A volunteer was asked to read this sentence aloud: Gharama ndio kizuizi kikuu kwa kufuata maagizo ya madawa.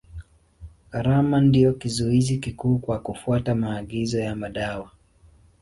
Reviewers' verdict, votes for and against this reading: accepted, 3, 0